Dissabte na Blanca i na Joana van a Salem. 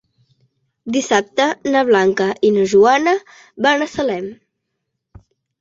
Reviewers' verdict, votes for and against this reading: accepted, 3, 0